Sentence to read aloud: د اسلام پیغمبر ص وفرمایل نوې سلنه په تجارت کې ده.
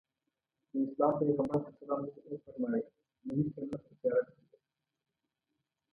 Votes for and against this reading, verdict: 0, 2, rejected